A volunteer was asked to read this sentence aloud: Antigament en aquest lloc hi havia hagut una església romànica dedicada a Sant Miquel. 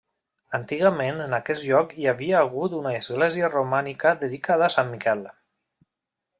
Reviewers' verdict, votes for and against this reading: rejected, 0, 2